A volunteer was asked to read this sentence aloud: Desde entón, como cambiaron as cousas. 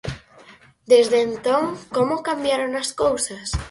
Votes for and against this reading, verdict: 0, 4, rejected